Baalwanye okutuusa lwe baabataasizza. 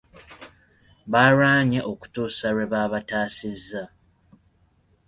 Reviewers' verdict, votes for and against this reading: accepted, 2, 1